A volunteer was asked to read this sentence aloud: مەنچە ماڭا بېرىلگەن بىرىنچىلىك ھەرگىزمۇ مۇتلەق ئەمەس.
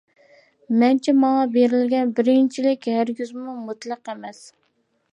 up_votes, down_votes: 2, 0